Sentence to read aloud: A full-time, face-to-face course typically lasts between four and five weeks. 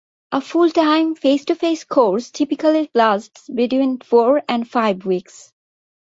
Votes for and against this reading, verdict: 2, 0, accepted